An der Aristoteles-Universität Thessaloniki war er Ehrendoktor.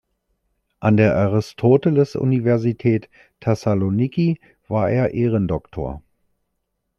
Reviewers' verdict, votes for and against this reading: accepted, 3, 0